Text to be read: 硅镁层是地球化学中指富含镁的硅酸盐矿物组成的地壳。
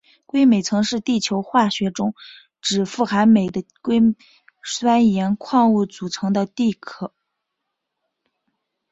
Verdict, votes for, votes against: rejected, 1, 2